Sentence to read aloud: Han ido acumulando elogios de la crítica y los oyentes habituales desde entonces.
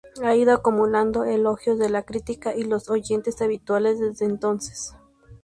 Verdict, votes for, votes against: rejected, 0, 2